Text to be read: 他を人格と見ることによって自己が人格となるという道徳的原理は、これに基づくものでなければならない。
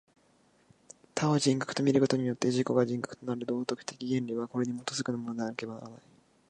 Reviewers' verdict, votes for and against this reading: accepted, 2, 0